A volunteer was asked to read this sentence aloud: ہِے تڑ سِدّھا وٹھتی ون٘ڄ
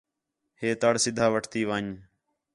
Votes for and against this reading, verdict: 4, 0, accepted